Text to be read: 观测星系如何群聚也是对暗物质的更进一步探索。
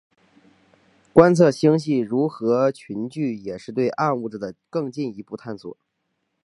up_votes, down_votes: 2, 0